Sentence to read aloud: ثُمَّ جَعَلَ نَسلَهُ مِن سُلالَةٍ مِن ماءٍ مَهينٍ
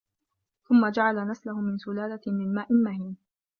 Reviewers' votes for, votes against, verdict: 2, 0, accepted